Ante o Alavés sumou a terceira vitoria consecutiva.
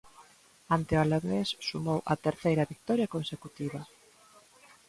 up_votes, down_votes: 2, 0